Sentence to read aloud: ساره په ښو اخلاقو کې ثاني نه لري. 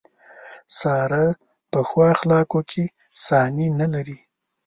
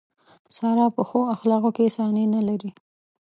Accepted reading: first